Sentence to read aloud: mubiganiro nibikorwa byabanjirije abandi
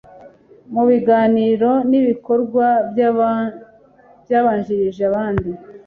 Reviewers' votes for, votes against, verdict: 1, 2, rejected